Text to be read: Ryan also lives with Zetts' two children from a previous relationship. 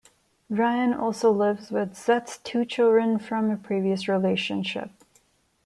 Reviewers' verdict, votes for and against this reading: rejected, 1, 2